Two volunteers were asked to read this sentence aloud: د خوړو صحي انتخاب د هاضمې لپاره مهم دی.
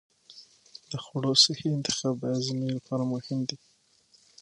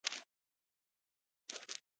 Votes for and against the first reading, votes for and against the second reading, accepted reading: 6, 0, 0, 3, first